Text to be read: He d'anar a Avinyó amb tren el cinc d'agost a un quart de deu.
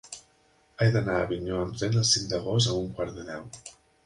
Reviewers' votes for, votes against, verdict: 3, 5, rejected